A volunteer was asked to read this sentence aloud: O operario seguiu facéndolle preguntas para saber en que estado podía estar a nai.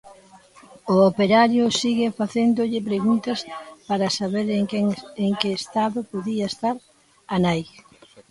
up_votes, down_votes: 0, 2